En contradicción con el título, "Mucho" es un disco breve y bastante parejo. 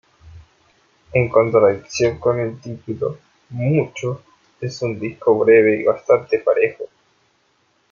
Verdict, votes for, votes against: rejected, 0, 2